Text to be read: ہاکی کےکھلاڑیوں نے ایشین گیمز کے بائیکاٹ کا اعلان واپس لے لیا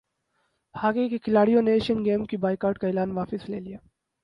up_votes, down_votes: 0, 4